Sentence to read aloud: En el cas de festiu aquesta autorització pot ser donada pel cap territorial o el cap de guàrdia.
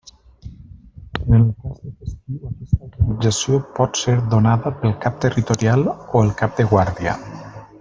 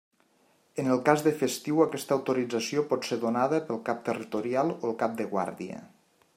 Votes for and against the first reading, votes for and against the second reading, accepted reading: 0, 2, 3, 0, second